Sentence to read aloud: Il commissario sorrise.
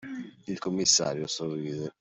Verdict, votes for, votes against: accepted, 2, 1